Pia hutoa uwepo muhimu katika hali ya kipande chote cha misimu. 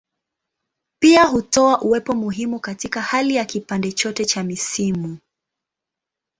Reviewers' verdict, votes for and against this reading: accepted, 2, 0